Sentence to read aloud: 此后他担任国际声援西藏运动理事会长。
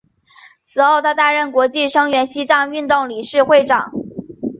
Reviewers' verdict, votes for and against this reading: accepted, 4, 0